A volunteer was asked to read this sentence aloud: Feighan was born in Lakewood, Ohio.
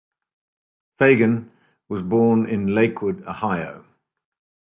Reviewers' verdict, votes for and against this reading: accepted, 2, 0